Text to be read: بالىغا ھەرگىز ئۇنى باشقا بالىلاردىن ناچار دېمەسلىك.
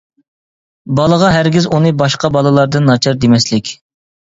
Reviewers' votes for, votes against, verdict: 2, 0, accepted